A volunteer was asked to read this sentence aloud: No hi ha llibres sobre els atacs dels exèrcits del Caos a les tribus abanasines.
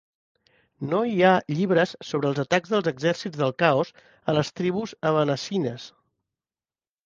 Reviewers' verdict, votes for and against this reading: accepted, 3, 0